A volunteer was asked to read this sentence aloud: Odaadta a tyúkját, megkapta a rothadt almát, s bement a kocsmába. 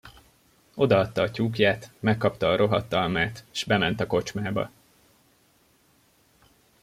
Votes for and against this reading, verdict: 1, 2, rejected